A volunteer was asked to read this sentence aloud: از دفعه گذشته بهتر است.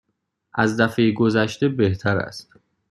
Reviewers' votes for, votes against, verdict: 2, 0, accepted